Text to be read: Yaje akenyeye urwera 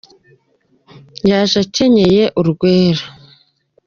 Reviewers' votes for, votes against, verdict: 2, 1, accepted